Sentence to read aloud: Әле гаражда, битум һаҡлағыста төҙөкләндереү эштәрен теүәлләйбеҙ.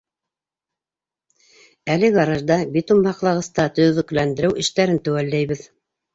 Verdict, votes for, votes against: accepted, 2, 0